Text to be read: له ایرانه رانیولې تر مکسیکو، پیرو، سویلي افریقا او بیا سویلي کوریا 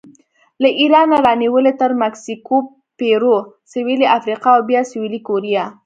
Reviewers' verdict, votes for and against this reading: accepted, 2, 0